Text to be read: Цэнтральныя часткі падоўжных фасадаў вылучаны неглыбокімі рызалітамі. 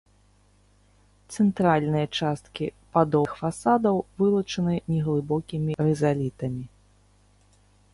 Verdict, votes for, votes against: rejected, 1, 2